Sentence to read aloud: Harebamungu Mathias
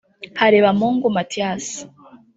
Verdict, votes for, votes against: rejected, 1, 2